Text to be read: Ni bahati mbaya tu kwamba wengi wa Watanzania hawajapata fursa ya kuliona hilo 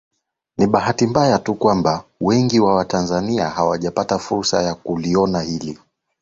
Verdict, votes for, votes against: accepted, 2, 0